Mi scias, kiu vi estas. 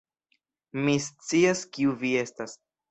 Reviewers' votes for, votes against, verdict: 2, 0, accepted